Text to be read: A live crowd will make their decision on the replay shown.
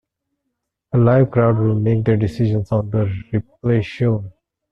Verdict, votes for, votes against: accepted, 2, 1